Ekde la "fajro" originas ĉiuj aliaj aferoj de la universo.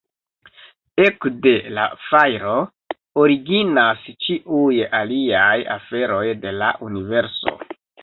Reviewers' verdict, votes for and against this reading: accepted, 2, 0